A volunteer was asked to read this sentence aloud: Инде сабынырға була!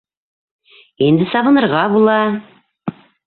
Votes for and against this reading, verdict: 0, 2, rejected